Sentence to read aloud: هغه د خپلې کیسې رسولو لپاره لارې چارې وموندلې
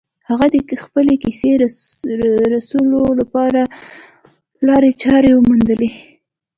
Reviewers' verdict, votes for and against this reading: accepted, 3, 0